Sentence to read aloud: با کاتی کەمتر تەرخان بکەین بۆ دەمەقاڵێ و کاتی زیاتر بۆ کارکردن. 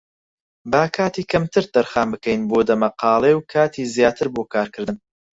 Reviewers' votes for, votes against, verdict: 4, 0, accepted